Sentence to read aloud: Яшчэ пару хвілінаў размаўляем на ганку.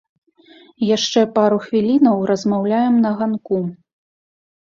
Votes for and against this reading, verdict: 1, 2, rejected